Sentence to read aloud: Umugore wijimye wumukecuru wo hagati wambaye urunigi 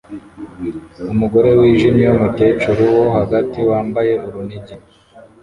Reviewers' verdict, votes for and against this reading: accepted, 2, 0